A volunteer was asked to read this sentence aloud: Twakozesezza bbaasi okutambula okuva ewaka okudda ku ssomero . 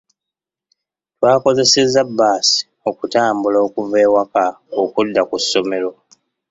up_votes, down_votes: 2, 0